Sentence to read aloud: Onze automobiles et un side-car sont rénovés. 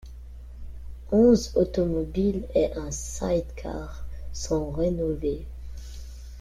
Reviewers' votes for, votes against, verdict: 0, 2, rejected